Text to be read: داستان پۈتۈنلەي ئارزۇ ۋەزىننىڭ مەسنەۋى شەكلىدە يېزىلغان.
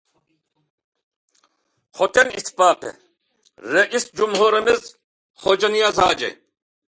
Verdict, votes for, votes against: rejected, 0, 2